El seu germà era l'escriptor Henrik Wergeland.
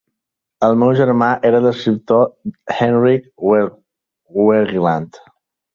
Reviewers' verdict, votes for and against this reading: rejected, 1, 3